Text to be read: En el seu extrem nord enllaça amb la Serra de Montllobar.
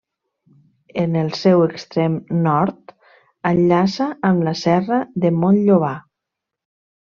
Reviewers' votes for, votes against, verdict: 2, 0, accepted